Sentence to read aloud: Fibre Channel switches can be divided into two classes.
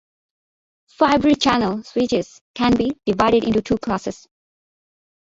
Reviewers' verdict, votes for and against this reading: accepted, 2, 0